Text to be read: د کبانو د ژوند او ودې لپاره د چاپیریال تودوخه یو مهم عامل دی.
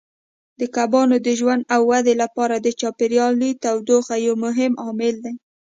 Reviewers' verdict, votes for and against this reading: accepted, 2, 0